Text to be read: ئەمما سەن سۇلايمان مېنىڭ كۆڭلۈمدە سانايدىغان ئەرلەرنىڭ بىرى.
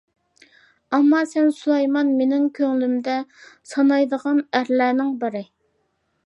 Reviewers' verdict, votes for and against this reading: accepted, 2, 0